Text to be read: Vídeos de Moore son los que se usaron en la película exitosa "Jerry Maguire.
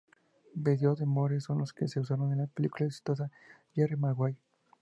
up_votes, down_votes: 2, 0